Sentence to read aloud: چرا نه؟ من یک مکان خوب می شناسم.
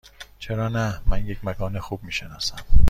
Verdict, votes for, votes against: accepted, 2, 0